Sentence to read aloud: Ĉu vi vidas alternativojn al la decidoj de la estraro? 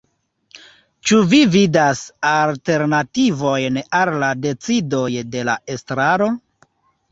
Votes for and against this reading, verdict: 2, 0, accepted